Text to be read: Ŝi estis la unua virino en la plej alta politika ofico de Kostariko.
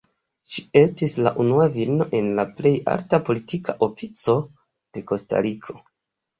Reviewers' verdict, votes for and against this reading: accepted, 2, 0